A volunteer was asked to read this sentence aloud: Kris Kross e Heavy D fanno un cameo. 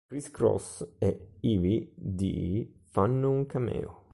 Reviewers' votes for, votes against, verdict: 2, 0, accepted